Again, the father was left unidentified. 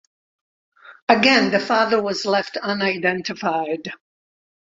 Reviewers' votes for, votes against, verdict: 2, 0, accepted